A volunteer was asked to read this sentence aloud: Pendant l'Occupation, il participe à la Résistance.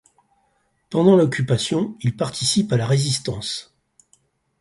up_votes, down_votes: 6, 0